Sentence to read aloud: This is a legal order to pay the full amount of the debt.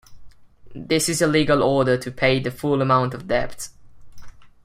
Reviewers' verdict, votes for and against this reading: rejected, 1, 2